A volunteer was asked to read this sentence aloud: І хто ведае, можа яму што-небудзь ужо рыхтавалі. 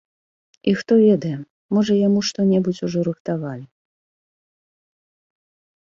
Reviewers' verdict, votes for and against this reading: accepted, 3, 0